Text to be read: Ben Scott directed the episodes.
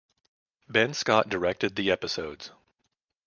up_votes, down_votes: 2, 0